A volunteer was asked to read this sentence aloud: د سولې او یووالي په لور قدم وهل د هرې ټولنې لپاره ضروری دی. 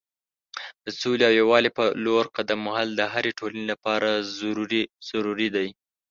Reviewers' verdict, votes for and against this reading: rejected, 1, 2